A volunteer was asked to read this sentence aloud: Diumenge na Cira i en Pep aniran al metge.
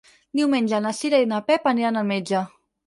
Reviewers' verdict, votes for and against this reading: rejected, 2, 4